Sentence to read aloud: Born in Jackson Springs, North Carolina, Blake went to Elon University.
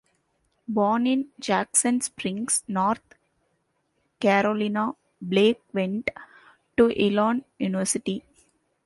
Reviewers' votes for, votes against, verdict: 2, 1, accepted